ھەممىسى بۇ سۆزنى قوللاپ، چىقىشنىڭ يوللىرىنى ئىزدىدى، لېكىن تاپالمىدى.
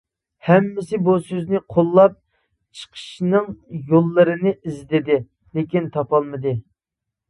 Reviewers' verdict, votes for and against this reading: accepted, 3, 0